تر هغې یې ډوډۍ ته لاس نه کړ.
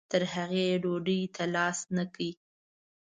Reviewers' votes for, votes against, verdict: 2, 0, accepted